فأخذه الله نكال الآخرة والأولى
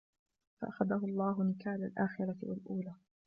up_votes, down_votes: 2, 0